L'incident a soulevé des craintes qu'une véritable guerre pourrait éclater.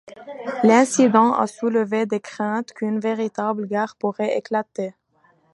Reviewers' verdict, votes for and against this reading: accepted, 2, 0